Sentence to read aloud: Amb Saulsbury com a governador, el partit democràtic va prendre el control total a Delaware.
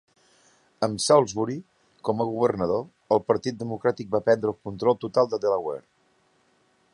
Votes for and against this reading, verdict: 3, 0, accepted